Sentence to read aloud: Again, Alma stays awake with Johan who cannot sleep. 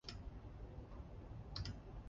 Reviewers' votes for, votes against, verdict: 0, 2, rejected